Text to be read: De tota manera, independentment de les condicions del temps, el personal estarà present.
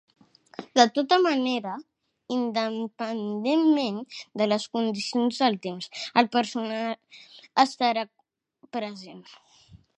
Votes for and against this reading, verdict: 0, 2, rejected